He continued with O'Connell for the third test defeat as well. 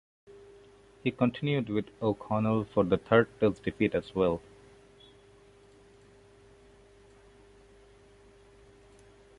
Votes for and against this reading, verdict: 0, 2, rejected